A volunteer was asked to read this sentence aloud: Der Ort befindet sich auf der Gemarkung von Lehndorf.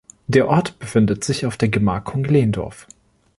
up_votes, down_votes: 1, 2